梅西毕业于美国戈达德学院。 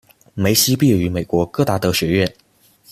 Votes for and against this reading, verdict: 2, 1, accepted